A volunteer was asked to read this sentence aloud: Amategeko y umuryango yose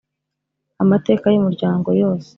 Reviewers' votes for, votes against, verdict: 0, 2, rejected